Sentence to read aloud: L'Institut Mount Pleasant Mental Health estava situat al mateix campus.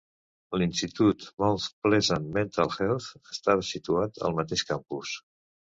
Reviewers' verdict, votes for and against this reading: accepted, 2, 0